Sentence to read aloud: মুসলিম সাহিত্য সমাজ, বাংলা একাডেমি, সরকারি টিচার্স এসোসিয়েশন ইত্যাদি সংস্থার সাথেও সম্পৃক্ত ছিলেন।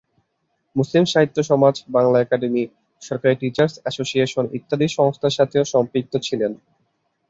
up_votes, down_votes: 4, 0